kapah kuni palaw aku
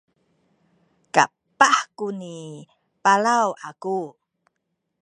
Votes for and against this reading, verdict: 2, 1, accepted